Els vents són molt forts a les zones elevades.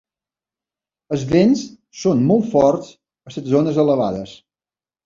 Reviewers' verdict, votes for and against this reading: rejected, 1, 2